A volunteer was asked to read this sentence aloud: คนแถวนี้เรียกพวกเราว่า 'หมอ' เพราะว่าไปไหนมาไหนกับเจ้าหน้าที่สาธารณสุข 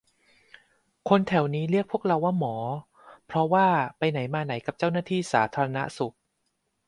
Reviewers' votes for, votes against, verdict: 2, 0, accepted